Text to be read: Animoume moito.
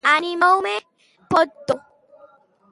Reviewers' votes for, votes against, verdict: 0, 2, rejected